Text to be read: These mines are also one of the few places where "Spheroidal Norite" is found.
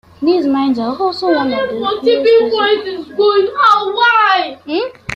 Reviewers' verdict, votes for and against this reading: rejected, 0, 2